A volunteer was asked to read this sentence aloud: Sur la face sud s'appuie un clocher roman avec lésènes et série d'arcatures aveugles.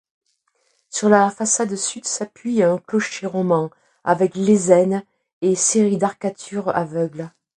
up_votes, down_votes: 0, 2